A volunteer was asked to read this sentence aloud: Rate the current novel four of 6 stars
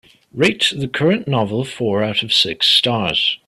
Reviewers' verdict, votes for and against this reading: rejected, 0, 2